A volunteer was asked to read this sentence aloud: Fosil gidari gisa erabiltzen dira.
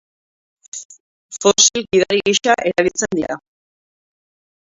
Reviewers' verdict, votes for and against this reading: rejected, 0, 2